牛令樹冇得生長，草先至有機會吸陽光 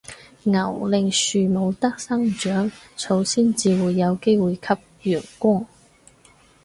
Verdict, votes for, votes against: rejected, 2, 4